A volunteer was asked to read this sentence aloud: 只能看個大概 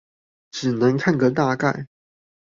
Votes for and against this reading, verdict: 2, 0, accepted